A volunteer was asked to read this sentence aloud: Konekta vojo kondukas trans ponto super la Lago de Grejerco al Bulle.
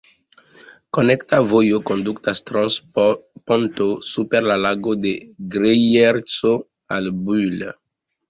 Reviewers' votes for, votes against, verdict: 3, 2, accepted